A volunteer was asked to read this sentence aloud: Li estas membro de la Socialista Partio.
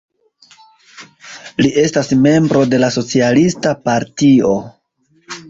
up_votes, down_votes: 2, 0